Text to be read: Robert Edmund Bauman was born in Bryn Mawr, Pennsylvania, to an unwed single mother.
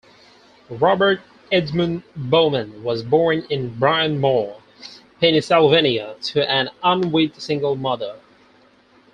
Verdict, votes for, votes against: rejected, 0, 4